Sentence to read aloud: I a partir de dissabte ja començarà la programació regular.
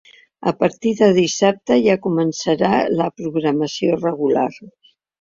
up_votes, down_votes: 0, 2